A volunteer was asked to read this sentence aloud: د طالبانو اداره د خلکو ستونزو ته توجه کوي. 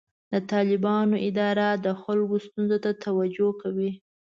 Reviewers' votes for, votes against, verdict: 2, 0, accepted